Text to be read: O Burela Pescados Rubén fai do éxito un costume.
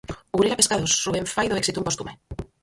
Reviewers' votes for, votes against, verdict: 0, 4, rejected